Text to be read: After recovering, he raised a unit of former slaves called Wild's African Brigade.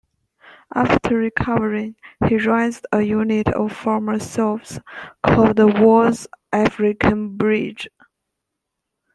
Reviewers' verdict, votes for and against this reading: rejected, 0, 2